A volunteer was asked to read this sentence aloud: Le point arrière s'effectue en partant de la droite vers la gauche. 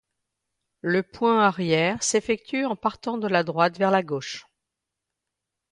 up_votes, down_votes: 2, 0